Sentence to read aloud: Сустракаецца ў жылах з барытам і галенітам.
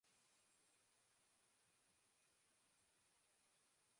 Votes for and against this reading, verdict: 0, 2, rejected